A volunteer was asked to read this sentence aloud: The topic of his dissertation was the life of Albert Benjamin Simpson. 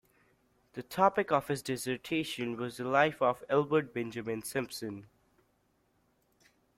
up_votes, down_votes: 3, 0